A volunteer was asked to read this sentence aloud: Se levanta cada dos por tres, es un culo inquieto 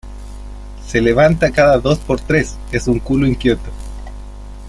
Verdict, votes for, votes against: accepted, 2, 0